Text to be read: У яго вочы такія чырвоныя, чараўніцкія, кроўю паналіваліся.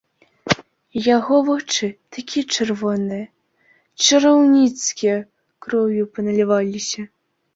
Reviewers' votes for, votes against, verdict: 2, 0, accepted